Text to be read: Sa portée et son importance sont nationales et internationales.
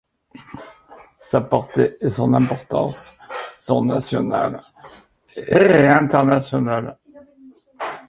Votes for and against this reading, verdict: 1, 2, rejected